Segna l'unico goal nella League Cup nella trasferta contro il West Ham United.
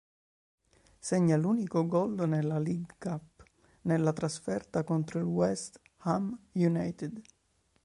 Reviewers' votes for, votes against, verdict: 0, 2, rejected